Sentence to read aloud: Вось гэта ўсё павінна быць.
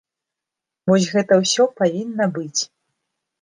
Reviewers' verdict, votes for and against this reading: accepted, 2, 0